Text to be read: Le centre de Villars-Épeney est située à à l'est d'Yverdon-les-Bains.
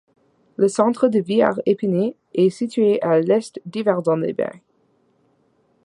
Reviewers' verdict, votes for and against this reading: rejected, 1, 2